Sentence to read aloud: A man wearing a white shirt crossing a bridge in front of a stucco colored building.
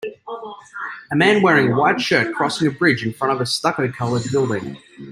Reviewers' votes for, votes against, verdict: 3, 0, accepted